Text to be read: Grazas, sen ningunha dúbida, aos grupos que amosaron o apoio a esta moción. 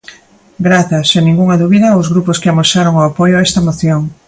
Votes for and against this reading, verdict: 2, 0, accepted